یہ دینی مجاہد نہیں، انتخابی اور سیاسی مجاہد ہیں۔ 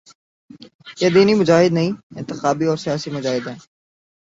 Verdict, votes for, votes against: accepted, 15, 1